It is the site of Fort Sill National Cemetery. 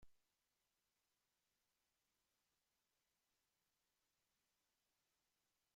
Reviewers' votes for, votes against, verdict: 1, 5, rejected